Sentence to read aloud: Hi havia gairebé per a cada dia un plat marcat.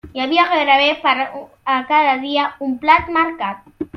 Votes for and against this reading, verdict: 0, 2, rejected